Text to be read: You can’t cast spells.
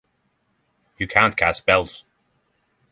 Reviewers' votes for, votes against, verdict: 6, 0, accepted